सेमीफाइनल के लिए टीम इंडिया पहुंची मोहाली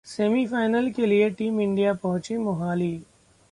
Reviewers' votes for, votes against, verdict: 2, 0, accepted